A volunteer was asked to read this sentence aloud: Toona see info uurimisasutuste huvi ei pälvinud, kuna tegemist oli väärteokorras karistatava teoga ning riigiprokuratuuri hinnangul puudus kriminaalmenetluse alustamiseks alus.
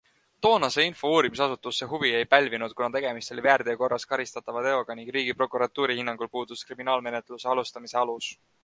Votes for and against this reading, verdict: 0, 2, rejected